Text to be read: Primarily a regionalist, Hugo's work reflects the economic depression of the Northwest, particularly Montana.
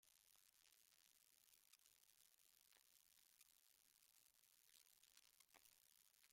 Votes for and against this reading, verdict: 0, 2, rejected